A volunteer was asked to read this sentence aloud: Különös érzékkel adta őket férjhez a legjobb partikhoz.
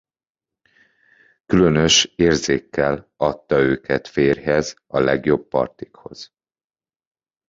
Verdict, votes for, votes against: accepted, 2, 0